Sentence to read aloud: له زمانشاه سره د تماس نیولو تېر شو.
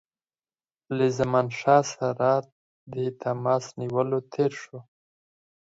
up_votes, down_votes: 4, 0